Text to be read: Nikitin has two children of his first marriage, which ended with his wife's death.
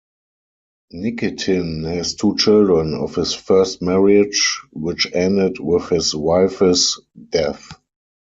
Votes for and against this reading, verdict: 0, 4, rejected